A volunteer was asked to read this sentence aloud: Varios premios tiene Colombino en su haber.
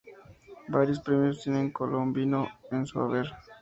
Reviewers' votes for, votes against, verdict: 0, 2, rejected